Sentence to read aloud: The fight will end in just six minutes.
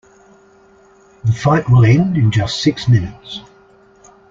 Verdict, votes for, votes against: accepted, 2, 1